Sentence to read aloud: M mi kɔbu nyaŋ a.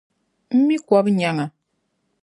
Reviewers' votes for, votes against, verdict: 2, 0, accepted